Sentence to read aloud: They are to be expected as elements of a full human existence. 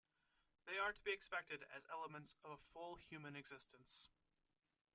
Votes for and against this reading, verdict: 2, 1, accepted